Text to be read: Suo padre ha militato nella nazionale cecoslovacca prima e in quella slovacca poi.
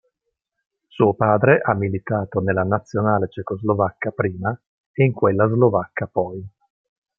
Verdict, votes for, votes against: accepted, 2, 0